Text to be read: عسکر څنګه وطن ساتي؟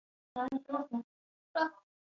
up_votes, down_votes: 3, 6